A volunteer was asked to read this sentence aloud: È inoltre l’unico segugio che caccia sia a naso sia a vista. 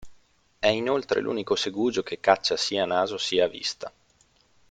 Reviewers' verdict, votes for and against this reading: accepted, 2, 0